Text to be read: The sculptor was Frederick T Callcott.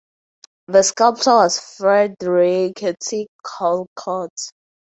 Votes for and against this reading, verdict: 0, 2, rejected